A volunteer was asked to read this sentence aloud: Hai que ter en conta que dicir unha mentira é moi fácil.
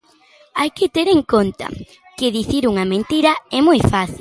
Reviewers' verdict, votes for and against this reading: accepted, 2, 1